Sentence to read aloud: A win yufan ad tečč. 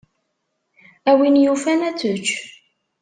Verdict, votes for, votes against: accepted, 2, 0